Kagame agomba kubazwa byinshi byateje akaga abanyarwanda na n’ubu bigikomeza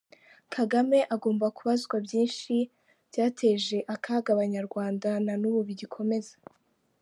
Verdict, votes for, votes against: accepted, 2, 1